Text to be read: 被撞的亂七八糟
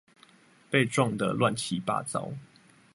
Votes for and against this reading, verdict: 2, 0, accepted